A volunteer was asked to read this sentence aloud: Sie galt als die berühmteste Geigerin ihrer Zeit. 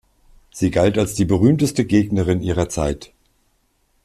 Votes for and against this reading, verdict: 0, 2, rejected